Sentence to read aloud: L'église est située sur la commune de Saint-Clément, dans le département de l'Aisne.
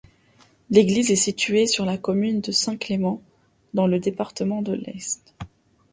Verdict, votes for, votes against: rejected, 0, 2